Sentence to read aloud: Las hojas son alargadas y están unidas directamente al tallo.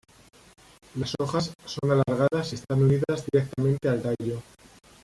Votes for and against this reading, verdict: 1, 2, rejected